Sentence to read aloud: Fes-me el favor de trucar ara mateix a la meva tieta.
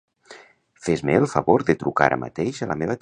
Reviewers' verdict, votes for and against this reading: rejected, 0, 2